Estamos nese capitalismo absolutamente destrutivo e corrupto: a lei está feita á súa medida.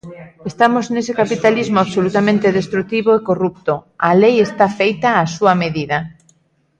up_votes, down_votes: 1, 2